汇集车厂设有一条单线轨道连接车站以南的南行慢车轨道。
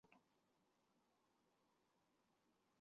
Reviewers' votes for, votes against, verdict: 0, 2, rejected